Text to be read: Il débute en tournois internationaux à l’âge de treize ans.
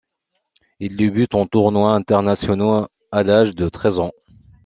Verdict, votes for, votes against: accepted, 2, 1